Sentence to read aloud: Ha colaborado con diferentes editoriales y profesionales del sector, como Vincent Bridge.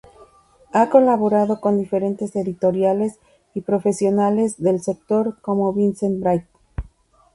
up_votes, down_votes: 0, 2